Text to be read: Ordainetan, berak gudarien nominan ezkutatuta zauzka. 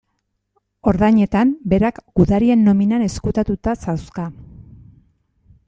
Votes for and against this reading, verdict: 2, 0, accepted